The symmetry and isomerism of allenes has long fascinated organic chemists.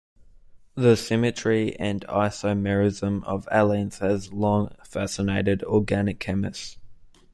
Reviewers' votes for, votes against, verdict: 2, 0, accepted